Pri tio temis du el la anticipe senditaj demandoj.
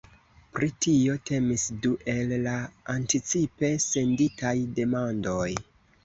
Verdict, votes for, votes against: accepted, 2, 0